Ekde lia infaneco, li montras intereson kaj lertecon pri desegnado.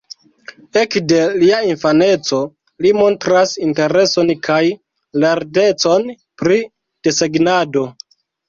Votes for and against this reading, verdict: 1, 2, rejected